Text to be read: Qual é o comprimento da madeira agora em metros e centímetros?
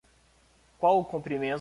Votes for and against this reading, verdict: 0, 2, rejected